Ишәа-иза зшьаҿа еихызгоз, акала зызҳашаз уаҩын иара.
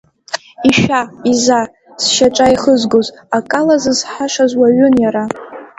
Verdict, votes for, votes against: accepted, 2, 0